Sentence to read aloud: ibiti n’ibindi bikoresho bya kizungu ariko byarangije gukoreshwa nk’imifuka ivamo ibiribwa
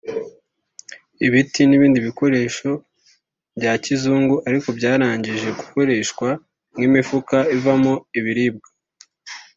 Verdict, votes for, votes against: accepted, 4, 0